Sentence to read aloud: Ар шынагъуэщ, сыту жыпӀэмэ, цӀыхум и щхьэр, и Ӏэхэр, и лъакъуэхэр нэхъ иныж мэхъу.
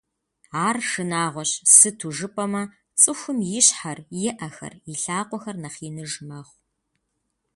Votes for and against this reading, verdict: 3, 0, accepted